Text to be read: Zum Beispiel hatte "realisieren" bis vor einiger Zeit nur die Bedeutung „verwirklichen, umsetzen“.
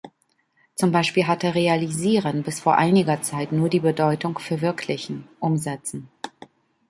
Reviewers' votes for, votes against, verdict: 2, 0, accepted